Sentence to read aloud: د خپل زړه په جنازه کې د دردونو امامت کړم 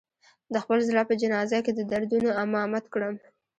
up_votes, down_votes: 0, 2